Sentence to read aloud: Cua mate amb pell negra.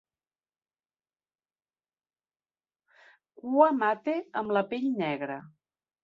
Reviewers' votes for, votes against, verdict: 0, 2, rejected